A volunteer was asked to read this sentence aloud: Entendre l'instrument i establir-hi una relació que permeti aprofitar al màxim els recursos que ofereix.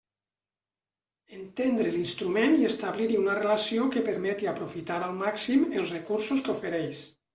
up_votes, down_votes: 3, 0